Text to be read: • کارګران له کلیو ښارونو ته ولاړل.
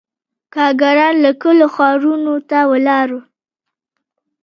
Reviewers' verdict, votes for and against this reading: accepted, 3, 1